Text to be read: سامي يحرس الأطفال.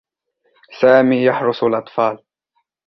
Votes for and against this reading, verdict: 1, 2, rejected